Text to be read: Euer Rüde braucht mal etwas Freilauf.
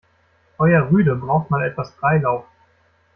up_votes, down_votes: 2, 0